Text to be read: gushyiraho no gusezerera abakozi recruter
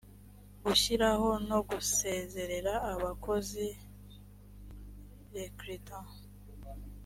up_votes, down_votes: 3, 0